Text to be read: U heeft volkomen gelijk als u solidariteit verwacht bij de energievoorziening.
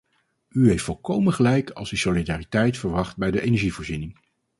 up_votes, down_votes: 4, 0